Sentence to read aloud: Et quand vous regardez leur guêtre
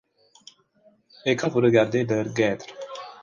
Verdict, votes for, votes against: rejected, 0, 4